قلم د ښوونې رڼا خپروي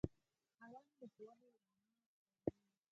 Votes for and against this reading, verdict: 4, 2, accepted